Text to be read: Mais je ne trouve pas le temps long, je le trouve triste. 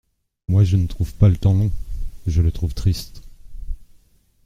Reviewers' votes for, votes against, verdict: 0, 2, rejected